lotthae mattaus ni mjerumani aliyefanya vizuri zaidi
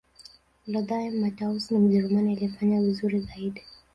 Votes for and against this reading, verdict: 1, 2, rejected